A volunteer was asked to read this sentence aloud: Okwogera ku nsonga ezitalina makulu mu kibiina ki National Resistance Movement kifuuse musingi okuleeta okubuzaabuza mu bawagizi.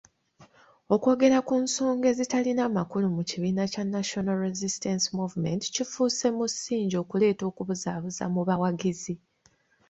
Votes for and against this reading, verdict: 2, 0, accepted